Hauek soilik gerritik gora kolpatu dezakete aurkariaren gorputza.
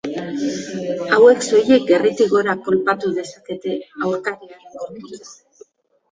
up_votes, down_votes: 0, 2